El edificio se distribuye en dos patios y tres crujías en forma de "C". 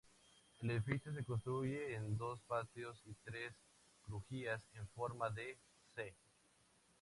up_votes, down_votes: 0, 2